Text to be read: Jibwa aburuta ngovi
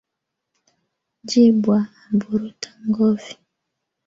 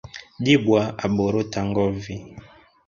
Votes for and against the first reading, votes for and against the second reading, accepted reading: 2, 0, 1, 2, first